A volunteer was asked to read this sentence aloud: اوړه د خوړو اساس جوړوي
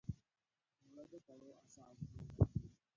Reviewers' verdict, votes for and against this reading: rejected, 0, 5